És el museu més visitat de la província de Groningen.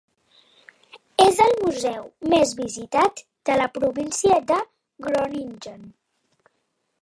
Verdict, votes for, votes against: accepted, 2, 0